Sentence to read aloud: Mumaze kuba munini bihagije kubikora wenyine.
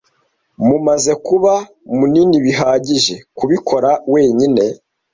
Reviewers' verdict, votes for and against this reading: accepted, 2, 0